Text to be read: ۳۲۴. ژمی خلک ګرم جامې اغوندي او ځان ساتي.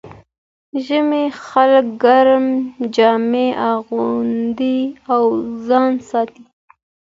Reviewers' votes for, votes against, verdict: 0, 2, rejected